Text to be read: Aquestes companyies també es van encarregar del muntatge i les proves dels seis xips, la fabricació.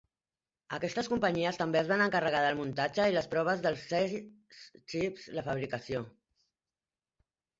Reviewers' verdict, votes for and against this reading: rejected, 0, 2